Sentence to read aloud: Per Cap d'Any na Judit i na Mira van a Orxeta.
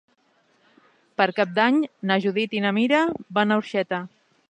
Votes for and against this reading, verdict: 4, 0, accepted